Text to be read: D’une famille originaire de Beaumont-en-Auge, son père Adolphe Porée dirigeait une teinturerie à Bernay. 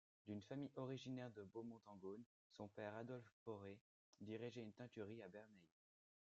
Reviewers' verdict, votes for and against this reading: rejected, 0, 2